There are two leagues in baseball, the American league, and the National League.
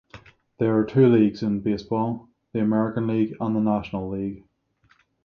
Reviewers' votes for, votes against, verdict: 3, 0, accepted